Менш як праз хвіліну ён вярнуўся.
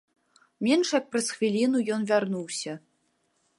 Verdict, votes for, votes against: accepted, 2, 0